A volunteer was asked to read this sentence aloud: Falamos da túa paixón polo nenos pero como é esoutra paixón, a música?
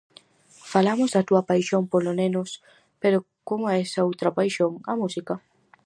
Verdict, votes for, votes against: rejected, 0, 2